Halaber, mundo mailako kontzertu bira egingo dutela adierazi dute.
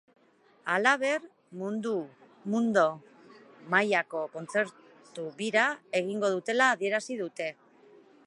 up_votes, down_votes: 0, 4